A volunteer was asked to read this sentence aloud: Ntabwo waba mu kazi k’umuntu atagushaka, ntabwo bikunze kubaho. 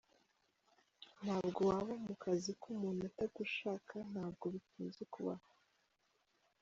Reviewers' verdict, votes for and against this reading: rejected, 1, 2